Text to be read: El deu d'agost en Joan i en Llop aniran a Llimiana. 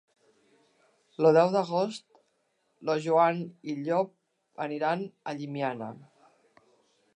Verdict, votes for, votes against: rejected, 0, 2